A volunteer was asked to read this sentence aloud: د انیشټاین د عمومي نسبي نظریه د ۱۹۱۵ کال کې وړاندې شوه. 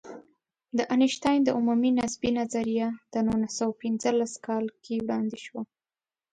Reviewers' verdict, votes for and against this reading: rejected, 0, 2